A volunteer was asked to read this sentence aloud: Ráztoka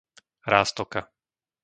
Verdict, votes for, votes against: accepted, 2, 0